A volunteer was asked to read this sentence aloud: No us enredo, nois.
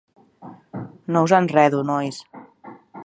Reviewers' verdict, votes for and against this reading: accepted, 2, 0